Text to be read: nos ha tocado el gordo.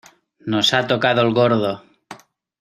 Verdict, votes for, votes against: accepted, 2, 0